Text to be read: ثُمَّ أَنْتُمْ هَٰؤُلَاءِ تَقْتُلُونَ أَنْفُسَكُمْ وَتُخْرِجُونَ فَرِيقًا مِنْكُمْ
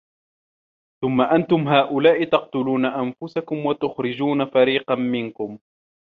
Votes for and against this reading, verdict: 2, 0, accepted